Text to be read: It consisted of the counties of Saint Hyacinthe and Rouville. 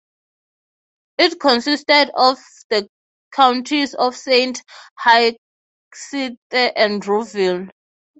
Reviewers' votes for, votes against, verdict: 0, 3, rejected